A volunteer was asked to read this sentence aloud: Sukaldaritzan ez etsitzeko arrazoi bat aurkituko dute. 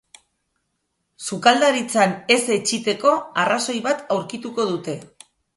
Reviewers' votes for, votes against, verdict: 0, 2, rejected